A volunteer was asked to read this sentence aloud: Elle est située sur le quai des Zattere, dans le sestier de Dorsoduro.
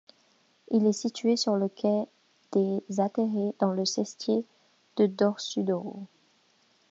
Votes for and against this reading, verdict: 1, 2, rejected